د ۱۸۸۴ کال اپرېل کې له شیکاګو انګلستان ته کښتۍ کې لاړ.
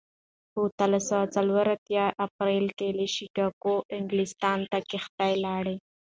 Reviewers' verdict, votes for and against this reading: rejected, 0, 2